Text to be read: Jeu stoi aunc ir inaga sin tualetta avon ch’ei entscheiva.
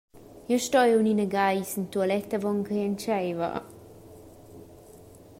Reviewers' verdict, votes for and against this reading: rejected, 0, 2